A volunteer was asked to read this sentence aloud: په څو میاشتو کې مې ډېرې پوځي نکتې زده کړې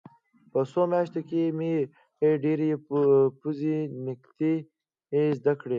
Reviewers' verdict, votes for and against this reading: rejected, 0, 2